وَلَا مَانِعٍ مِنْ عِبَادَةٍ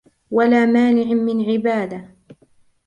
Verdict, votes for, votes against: accepted, 2, 0